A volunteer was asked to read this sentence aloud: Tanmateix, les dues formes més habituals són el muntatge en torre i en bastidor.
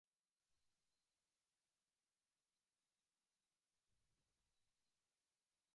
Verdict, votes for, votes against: rejected, 0, 2